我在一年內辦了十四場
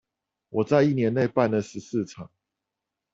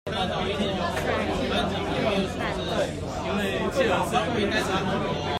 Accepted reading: first